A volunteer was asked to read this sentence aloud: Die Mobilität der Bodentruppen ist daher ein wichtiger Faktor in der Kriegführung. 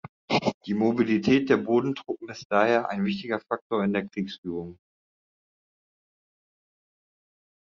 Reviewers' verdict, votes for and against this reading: rejected, 1, 2